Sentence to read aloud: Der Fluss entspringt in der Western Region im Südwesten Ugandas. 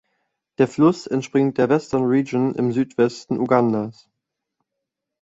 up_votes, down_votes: 1, 2